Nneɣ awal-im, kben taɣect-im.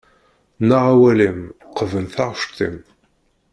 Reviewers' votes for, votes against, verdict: 0, 2, rejected